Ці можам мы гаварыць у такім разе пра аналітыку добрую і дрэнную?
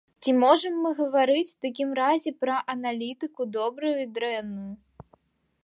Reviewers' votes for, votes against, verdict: 2, 0, accepted